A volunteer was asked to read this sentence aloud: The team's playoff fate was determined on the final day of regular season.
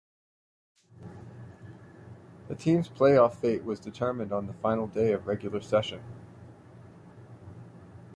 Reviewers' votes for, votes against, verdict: 1, 2, rejected